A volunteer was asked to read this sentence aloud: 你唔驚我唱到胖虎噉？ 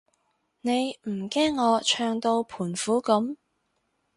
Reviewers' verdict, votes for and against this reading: rejected, 0, 2